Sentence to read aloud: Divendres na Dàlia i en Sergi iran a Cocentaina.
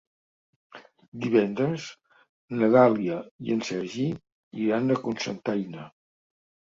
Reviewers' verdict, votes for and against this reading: rejected, 0, 2